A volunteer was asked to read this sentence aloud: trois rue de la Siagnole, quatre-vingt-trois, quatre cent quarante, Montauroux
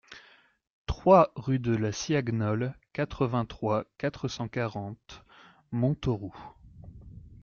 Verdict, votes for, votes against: accepted, 2, 0